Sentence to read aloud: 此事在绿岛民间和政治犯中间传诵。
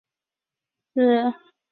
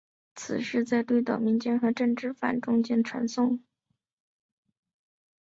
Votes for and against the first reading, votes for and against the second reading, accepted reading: 0, 4, 4, 2, second